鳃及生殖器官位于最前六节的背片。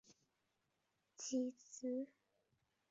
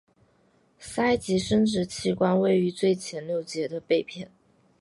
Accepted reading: second